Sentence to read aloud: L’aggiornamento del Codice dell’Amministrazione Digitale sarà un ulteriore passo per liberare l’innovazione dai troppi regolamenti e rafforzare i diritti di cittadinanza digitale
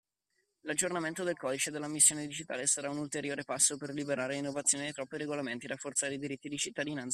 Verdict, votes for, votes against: rejected, 1, 2